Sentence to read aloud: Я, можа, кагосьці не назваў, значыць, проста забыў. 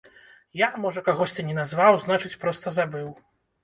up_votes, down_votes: 0, 2